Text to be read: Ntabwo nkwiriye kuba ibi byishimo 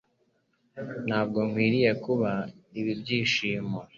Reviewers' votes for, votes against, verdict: 2, 0, accepted